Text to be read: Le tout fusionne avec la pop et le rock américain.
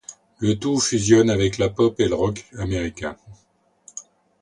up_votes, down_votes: 2, 0